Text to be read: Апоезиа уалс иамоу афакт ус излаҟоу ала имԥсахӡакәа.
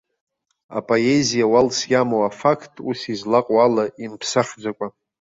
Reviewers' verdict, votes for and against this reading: accepted, 2, 0